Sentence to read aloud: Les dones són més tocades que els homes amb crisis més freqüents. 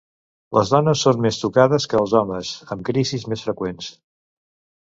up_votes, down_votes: 2, 0